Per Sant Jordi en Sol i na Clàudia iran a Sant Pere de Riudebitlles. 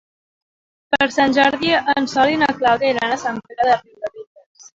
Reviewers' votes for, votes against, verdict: 0, 3, rejected